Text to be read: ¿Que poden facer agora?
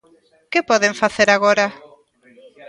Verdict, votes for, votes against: rejected, 1, 2